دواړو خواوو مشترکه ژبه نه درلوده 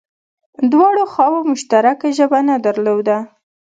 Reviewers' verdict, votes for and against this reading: accepted, 2, 0